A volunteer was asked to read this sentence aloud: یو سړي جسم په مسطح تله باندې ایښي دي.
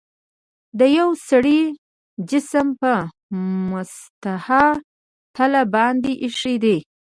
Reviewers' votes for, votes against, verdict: 2, 1, accepted